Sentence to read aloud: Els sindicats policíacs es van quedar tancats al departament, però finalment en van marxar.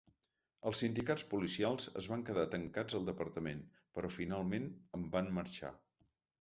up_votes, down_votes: 0, 2